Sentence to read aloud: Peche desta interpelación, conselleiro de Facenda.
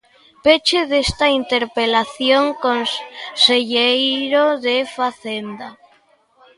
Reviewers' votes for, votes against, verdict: 1, 2, rejected